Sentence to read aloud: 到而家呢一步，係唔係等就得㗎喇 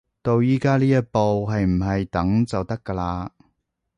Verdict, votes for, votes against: rejected, 1, 2